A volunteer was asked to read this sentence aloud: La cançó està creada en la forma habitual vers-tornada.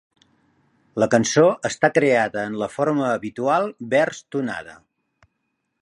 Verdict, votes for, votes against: rejected, 1, 2